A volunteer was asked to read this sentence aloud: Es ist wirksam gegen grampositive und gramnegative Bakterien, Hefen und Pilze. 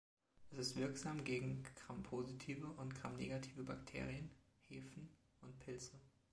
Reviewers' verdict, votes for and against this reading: rejected, 1, 2